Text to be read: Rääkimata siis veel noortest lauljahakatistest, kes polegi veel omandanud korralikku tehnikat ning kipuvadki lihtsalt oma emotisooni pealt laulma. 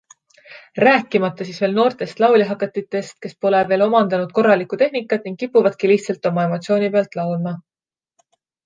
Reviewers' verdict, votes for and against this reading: rejected, 0, 2